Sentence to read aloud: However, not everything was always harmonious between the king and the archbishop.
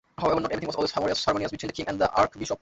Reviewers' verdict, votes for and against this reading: rejected, 0, 2